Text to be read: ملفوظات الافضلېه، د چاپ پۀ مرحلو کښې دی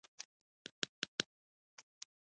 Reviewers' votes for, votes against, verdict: 1, 2, rejected